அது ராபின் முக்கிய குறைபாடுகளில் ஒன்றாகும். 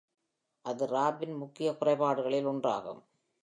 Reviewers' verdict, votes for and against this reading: accepted, 2, 0